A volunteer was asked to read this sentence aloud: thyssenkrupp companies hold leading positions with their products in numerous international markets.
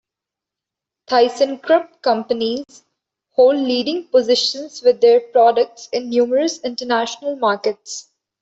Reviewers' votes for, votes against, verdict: 0, 2, rejected